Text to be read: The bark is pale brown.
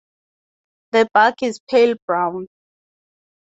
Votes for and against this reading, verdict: 2, 0, accepted